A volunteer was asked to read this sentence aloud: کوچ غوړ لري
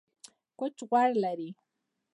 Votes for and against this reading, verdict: 0, 2, rejected